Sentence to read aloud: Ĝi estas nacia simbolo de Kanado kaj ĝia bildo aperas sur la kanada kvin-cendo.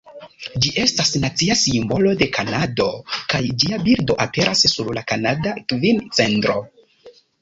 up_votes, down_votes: 1, 2